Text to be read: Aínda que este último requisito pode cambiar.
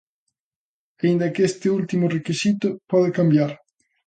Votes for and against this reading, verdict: 2, 0, accepted